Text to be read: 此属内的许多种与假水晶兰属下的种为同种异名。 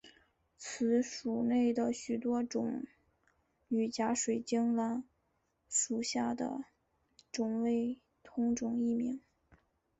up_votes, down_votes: 2, 0